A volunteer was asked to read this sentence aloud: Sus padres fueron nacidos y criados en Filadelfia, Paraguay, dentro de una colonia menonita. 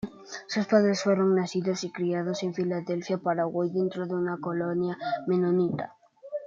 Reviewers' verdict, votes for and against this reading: accepted, 2, 0